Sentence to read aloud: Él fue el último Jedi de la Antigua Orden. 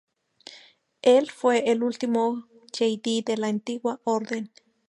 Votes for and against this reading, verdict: 2, 0, accepted